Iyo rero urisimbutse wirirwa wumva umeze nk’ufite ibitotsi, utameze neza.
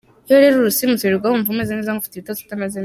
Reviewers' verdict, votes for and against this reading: rejected, 1, 3